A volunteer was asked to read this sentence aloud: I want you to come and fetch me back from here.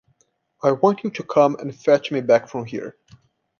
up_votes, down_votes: 2, 0